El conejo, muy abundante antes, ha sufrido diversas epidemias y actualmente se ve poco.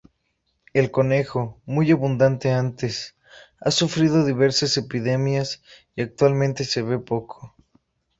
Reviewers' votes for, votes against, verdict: 2, 0, accepted